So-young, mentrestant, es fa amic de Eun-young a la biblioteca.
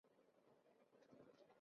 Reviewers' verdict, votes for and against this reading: rejected, 0, 2